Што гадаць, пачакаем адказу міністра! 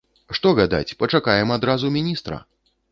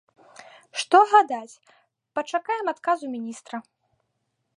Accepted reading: second